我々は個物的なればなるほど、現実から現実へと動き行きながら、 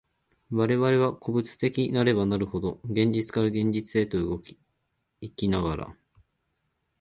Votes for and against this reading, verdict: 3, 1, accepted